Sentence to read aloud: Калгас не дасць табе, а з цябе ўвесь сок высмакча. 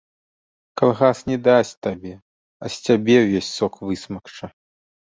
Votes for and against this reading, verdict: 3, 0, accepted